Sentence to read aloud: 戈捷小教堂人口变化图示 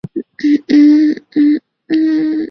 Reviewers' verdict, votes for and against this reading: rejected, 0, 2